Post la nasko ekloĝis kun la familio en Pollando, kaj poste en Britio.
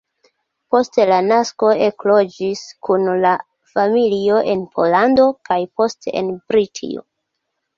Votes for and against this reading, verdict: 0, 2, rejected